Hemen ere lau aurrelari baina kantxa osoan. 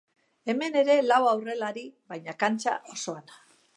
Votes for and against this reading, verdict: 2, 0, accepted